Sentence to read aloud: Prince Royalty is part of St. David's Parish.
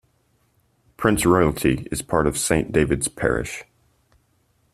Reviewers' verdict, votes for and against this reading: accepted, 2, 0